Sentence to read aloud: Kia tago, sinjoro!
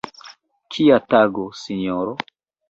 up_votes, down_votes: 0, 2